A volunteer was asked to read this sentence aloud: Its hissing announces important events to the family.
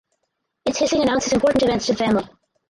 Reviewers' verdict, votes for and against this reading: rejected, 2, 2